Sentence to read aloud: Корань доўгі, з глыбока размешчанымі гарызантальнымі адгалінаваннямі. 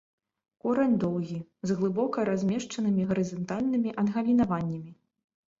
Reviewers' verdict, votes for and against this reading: accepted, 2, 0